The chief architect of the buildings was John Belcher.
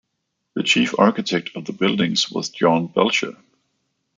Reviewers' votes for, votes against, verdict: 2, 0, accepted